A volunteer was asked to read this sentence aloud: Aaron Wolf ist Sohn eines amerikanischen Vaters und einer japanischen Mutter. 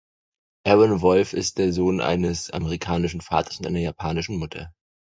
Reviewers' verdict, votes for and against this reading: rejected, 2, 4